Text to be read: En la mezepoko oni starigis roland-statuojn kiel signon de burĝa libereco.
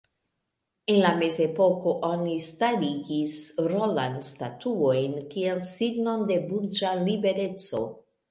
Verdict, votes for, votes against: rejected, 1, 2